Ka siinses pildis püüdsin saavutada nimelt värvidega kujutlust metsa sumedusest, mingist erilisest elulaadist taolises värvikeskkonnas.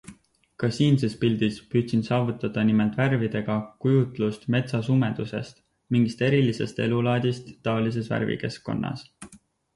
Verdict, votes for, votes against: accepted, 4, 0